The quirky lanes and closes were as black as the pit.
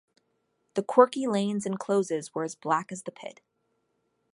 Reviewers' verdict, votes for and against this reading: accepted, 2, 0